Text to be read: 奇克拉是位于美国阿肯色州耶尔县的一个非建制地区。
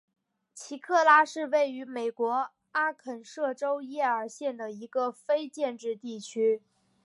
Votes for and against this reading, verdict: 3, 0, accepted